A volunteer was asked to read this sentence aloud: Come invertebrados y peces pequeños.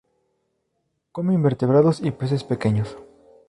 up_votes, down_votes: 2, 0